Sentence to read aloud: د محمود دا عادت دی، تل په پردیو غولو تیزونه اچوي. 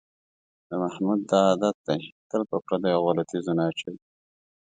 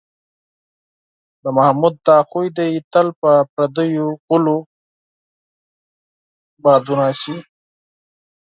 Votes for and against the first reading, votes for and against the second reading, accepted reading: 2, 0, 2, 4, first